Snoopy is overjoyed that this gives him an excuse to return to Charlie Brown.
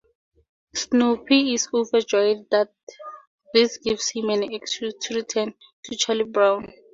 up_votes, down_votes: 6, 4